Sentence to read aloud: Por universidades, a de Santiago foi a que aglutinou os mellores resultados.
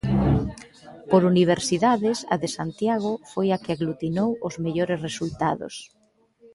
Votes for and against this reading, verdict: 2, 0, accepted